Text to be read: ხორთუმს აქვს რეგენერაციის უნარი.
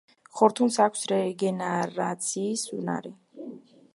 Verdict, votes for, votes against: rejected, 1, 3